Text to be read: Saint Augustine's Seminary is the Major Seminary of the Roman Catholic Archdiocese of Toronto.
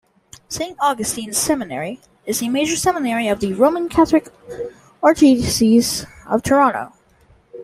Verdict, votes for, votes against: rejected, 0, 2